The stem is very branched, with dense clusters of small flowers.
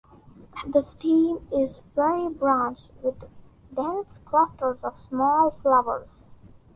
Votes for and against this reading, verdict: 1, 2, rejected